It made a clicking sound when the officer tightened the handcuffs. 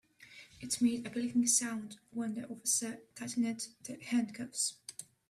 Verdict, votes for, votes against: rejected, 0, 2